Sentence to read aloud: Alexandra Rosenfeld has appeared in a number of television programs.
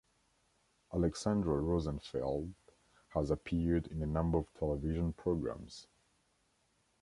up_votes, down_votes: 2, 0